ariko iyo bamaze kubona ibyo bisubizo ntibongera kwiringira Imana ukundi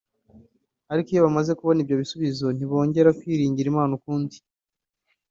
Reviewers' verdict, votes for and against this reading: accepted, 2, 0